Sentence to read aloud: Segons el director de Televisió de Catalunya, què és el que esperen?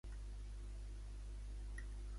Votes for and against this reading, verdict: 0, 2, rejected